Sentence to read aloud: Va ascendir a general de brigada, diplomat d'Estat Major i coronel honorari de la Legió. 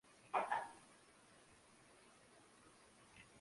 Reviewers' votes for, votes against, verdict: 0, 2, rejected